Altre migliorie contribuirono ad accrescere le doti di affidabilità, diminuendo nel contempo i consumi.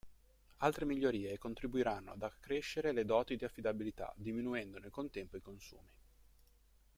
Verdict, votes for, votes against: rejected, 0, 2